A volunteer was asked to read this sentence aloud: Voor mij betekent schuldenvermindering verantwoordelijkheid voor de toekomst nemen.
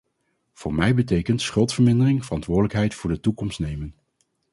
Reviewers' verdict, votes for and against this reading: rejected, 0, 2